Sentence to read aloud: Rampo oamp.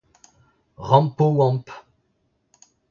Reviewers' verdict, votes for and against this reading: accepted, 2, 1